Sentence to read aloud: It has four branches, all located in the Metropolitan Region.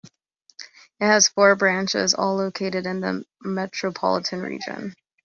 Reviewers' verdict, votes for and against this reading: accepted, 2, 0